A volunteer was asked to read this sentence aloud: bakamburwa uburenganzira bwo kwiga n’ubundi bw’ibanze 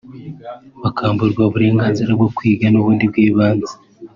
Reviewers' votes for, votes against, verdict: 3, 0, accepted